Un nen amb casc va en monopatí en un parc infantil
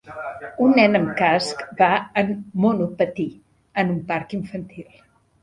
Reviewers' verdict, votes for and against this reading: rejected, 0, 2